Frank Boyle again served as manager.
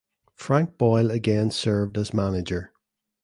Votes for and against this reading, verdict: 3, 0, accepted